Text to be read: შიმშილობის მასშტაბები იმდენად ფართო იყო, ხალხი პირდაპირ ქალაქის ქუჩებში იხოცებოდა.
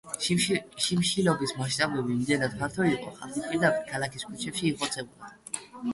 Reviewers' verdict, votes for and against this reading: rejected, 0, 2